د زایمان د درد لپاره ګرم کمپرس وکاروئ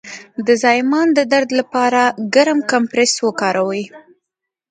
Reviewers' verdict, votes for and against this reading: accepted, 2, 0